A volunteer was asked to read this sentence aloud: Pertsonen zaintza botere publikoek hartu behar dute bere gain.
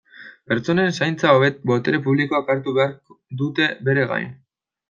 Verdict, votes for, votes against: rejected, 1, 2